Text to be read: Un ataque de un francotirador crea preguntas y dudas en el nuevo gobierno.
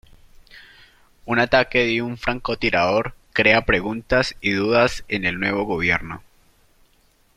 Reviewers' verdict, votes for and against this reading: accepted, 2, 0